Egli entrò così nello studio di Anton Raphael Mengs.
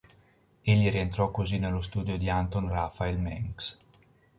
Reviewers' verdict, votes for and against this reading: rejected, 1, 2